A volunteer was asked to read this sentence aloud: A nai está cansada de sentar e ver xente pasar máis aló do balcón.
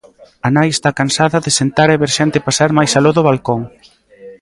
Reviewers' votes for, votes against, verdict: 1, 2, rejected